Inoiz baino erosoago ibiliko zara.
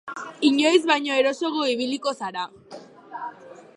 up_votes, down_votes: 0, 2